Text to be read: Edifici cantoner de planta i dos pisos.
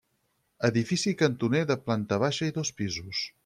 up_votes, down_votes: 0, 4